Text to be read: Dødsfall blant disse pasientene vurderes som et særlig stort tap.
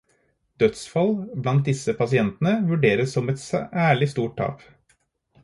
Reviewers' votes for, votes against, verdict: 4, 0, accepted